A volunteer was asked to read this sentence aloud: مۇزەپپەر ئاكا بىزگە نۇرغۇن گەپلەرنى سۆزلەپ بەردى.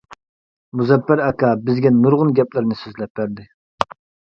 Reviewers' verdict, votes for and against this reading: accepted, 2, 0